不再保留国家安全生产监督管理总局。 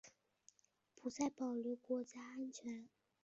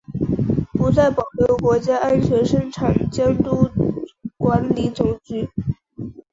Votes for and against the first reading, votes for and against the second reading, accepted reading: 1, 5, 2, 0, second